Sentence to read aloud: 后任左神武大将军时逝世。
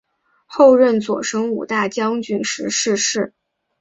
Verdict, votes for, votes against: accepted, 4, 0